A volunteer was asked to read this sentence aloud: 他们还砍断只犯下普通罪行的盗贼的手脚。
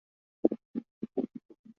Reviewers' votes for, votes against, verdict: 4, 6, rejected